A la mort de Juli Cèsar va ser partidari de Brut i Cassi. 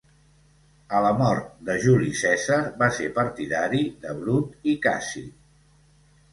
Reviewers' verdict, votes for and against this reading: accepted, 4, 0